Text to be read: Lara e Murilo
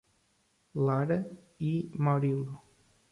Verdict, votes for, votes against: rejected, 1, 2